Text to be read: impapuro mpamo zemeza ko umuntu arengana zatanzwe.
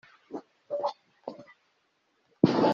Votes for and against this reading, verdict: 0, 2, rejected